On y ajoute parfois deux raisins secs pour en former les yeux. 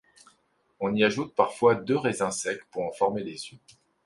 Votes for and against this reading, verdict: 2, 0, accepted